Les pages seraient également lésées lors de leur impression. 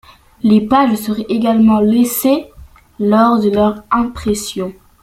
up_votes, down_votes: 0, 2